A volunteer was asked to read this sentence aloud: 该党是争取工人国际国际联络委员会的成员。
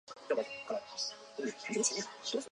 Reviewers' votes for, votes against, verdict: 2, 3, rejected